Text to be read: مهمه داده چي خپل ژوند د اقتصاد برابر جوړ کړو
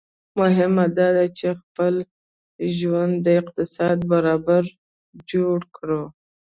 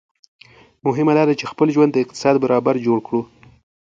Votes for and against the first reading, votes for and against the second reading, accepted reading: 1, 2, 2, 0, second